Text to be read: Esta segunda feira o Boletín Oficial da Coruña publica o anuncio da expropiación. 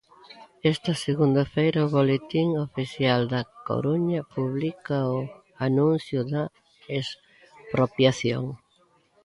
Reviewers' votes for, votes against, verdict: 1, 2, rejected